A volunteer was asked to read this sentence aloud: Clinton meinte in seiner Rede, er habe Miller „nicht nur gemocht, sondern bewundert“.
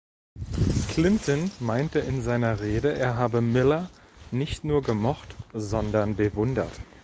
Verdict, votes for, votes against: rejected, 0, 2